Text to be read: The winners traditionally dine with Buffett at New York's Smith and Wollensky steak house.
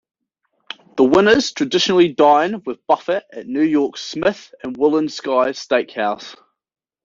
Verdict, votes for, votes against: rejected, 0, 2